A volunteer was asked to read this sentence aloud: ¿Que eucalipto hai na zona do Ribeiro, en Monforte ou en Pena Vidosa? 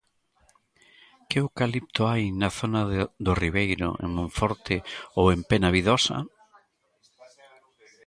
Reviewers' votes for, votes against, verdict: 0, 2, rejected